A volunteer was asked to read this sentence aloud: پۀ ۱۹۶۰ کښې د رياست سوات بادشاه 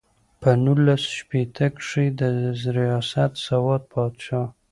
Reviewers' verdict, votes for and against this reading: rejected, 0, 2